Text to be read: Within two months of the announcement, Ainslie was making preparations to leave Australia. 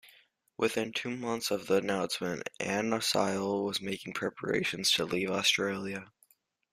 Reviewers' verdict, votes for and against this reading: rejected, 1, 2